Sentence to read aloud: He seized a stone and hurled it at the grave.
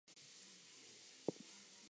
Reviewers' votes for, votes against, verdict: 0, 4, rejected